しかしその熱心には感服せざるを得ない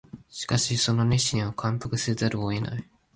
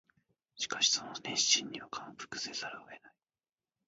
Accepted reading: first